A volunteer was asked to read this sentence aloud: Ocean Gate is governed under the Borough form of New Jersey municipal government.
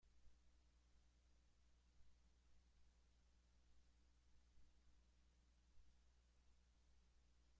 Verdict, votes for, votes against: rejected, 0, 2